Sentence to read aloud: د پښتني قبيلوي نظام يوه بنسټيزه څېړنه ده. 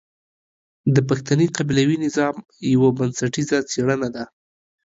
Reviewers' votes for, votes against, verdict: 2, 0, accepted